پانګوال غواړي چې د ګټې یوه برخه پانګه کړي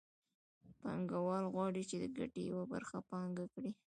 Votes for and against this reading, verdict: 2, 1, accepted